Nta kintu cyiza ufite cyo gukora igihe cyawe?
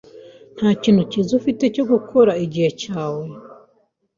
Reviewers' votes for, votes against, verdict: 2, 0, accepted